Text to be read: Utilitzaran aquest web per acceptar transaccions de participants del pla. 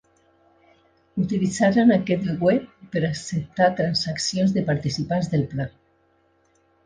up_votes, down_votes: 0, 2